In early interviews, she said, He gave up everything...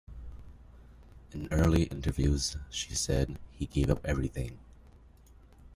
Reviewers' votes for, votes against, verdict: 2, 0, accepted